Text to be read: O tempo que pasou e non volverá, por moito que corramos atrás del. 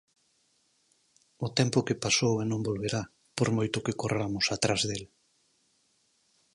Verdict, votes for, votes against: accepted, 4, 0